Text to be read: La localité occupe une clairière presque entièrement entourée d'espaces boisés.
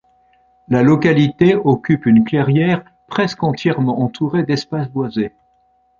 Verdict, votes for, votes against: accepted, 2, 0